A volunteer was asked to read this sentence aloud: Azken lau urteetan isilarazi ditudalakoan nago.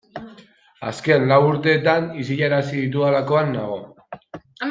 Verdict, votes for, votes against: accepted, 2, 1